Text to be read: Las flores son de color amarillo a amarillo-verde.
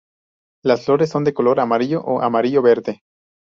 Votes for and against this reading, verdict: 0, 2, rejected